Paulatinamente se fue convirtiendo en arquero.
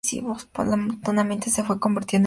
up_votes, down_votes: 0, 2